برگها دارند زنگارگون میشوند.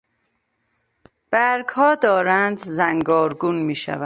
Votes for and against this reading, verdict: 1, 2, rejected